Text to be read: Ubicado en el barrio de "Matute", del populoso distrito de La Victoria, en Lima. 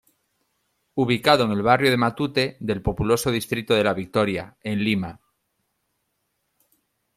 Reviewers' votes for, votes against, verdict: 2, 0, accepted